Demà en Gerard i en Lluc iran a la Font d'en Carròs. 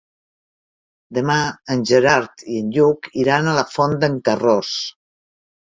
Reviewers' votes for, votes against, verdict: 3, 0, accepted